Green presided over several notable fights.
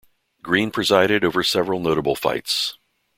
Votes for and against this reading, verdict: 2, 0, accepted